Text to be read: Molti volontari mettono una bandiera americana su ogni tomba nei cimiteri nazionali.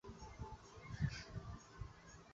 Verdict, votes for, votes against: rejected, 0, 2